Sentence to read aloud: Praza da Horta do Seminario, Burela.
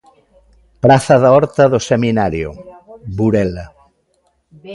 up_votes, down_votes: 1, 2